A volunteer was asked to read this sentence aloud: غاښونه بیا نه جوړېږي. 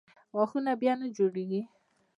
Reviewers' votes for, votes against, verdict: 2, 1, accepted